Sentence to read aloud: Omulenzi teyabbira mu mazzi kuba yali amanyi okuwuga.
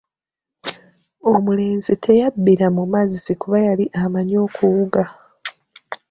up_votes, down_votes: 2, 0